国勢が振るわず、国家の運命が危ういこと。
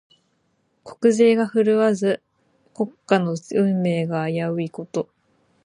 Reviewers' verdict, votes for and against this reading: rejected, 0, 4